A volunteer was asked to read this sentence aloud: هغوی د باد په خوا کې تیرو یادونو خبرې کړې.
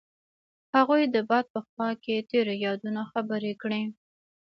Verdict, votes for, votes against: accepted, 2, 0